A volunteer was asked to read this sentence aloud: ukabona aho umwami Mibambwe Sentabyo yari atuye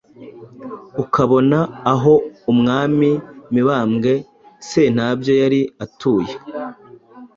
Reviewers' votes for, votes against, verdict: 2, 0, accepted